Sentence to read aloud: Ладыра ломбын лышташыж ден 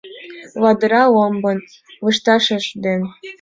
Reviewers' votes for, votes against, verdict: 2, 1, accepted